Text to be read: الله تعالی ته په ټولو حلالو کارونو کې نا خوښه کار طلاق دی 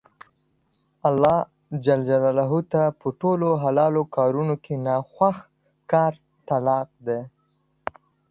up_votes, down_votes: 2, 0